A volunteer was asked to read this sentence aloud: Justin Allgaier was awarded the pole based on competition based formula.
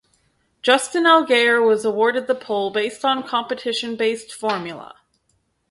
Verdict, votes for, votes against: rejected, 0, 2